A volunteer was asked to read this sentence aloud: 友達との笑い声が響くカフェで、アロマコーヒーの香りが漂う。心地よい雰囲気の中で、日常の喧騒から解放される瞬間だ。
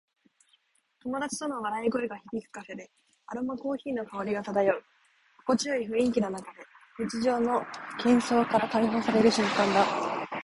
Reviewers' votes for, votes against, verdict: 2, 0, accepted